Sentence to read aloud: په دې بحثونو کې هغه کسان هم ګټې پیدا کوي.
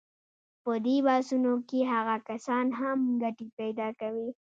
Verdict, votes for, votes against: accepted, 2, 0